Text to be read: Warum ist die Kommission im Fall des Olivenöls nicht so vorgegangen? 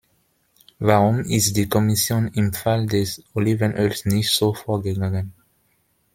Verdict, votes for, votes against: accepted, 2, 0